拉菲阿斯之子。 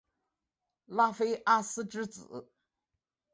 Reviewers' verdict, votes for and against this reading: accepted, 3, 0